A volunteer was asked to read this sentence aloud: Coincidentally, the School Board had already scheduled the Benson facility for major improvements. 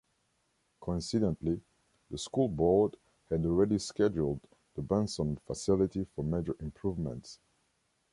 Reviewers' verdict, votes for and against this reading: accepted, 2, 0